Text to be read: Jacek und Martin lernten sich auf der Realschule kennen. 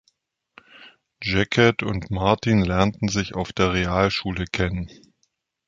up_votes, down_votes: 0, 2